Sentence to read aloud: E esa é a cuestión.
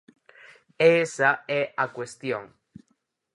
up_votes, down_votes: 4, 0